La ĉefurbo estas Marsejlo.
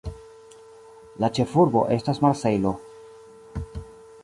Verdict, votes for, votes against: rejected, 1, 2